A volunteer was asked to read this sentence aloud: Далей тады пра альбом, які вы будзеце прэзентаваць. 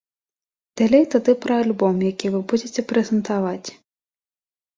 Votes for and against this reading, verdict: 2, 0, accepted